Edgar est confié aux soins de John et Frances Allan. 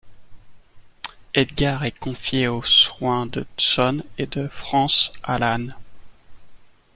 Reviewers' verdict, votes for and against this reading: accepted, 2, 0